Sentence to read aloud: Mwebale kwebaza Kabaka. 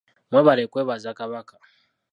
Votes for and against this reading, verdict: 2, 0, accepted